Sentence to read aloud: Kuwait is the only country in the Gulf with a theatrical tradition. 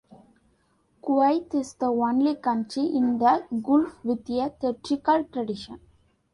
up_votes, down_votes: 2, 0